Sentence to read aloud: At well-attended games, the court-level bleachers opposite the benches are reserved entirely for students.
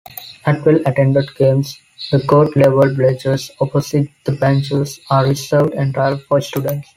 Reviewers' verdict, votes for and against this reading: accepted, 2, 1